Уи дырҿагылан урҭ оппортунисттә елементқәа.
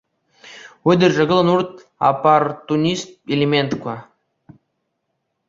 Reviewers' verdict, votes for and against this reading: rejected, 1, 2